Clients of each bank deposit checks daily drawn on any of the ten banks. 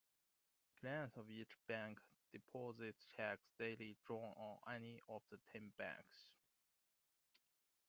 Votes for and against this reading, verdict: 2, 0, accepted